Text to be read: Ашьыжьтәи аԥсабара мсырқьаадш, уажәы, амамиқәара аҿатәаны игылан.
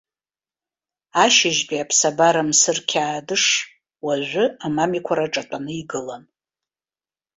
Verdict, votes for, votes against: accepted, 2, 0